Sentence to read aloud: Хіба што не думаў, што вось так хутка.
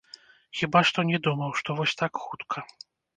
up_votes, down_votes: 2, 0